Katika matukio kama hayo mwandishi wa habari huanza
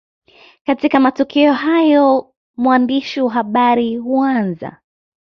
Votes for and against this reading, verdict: 2, 0, accepted